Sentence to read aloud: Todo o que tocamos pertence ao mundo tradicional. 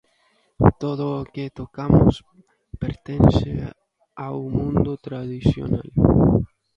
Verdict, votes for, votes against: rejected, 1, 2